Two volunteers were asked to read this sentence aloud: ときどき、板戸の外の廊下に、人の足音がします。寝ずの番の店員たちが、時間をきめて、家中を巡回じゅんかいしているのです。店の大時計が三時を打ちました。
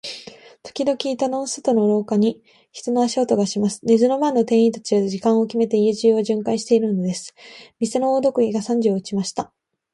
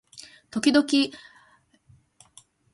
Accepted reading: first